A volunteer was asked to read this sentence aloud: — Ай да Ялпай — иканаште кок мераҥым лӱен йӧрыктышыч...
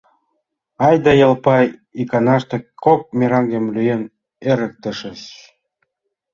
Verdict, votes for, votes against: rejected, 0, 2